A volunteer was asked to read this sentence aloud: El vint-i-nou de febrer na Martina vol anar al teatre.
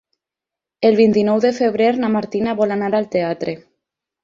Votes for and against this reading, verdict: 6, 0, accepted